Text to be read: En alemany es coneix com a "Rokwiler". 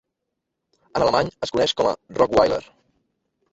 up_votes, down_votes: 2, 1